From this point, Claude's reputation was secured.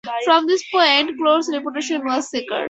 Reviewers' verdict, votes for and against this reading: accepted, 2, 0